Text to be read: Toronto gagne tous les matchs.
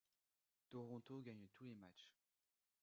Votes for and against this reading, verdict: 2, 0, accepted